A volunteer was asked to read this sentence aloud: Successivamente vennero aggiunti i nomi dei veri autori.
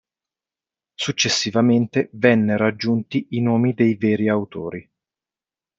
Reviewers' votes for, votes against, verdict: 2, 0, accepted